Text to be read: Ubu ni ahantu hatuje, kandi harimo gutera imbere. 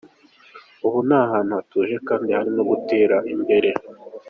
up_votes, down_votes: 3, 0